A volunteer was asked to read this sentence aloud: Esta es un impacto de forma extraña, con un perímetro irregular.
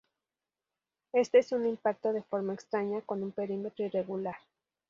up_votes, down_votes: 0, 2